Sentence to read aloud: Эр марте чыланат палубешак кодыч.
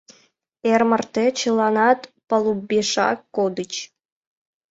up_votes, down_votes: 2, 0